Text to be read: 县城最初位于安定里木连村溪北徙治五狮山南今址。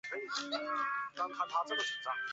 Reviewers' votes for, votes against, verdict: 0, 3, rejected